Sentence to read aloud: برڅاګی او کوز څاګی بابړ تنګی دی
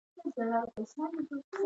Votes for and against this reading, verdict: 0, 2, rejected